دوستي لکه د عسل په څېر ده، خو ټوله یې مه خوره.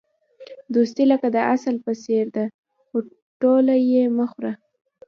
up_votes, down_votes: 0, 2